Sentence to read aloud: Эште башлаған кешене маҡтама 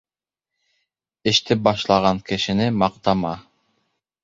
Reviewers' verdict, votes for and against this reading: accepted, 2, 0